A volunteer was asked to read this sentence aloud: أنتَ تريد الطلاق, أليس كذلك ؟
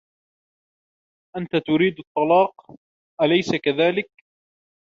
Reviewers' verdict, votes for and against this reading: accepted, 2, 1